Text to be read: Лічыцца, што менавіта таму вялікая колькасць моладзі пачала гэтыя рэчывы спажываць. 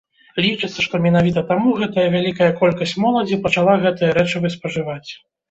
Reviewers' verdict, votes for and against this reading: rejected, 1, 2